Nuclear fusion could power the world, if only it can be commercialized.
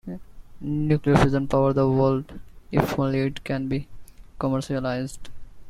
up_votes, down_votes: 1, 2